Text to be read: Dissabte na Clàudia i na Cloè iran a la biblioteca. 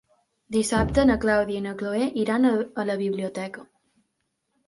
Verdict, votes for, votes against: rejected, 1, 2